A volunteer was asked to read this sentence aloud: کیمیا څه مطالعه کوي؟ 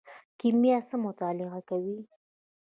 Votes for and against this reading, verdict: 1, 2, rejected